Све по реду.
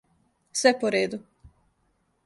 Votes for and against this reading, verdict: 2, 0, accepted